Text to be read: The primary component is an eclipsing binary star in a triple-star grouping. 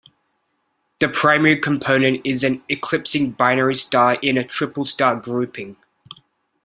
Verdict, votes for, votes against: accepted, 2, 0